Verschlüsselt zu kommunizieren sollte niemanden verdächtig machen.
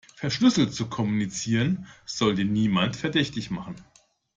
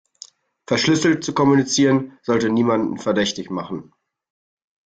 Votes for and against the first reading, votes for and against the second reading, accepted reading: 0, 2, 2, 0, second